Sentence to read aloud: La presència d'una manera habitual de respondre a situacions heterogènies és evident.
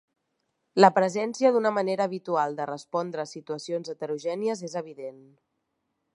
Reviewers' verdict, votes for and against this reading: accepted, 4, 0